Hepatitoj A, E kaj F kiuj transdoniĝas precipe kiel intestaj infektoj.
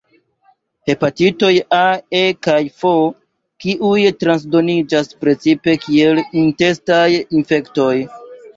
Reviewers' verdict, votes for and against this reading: accepted, 2, 0